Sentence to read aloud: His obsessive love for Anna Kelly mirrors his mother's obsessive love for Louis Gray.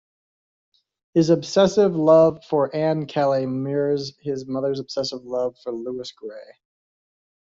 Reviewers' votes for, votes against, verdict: 0, 2, rejected